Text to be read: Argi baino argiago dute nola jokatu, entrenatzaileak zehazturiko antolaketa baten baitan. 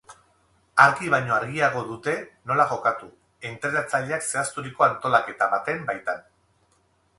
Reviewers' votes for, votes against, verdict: 2, 2, rejected